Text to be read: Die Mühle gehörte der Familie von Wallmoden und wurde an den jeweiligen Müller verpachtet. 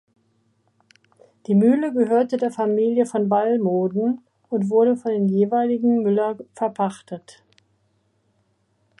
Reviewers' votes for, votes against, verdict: 0, 2, rejected